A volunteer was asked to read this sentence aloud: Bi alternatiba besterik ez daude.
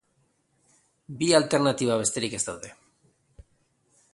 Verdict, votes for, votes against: accepted, 2, 0